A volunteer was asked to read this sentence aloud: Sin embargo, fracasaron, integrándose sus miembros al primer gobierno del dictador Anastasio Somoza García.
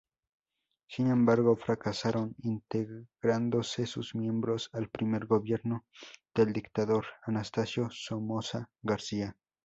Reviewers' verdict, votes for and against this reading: rejected, 0, 2